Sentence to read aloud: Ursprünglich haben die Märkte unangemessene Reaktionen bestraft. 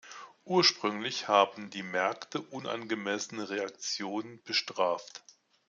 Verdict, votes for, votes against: accepted, 2, 0